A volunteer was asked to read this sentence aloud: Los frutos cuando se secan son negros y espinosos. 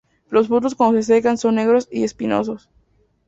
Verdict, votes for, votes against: rejected, 0, 4